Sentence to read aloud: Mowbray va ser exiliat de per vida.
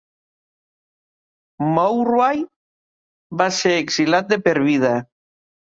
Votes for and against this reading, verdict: 1, 2, rejected